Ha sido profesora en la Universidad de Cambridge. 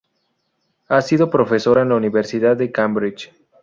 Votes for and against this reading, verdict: 2, 0, accepted